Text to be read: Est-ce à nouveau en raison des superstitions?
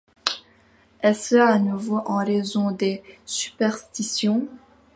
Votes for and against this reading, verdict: 2, 0, accepted